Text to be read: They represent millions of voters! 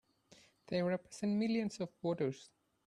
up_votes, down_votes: 1, 2